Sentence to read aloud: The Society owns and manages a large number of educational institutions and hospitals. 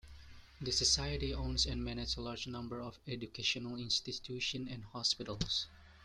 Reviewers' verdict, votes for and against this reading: accepted, 2, 1